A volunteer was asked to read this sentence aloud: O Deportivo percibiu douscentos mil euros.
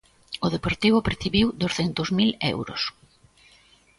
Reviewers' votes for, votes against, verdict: 2, 0, accepted